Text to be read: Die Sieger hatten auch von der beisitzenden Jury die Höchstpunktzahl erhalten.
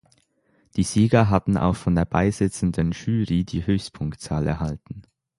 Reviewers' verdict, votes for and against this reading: accepted, 6, 0